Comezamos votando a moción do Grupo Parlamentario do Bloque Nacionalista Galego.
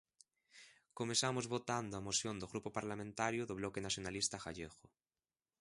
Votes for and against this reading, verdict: 1, 2, rejected